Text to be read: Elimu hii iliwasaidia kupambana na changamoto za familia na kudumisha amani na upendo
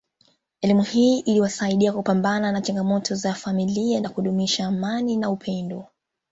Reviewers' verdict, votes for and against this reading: accepted, 3, 2